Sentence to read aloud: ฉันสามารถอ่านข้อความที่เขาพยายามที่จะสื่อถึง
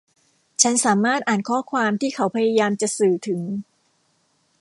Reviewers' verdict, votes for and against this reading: rejected, 1, 2